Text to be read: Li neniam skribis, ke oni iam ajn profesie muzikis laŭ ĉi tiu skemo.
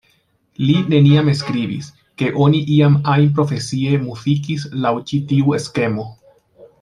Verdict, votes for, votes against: rejected, 0, 2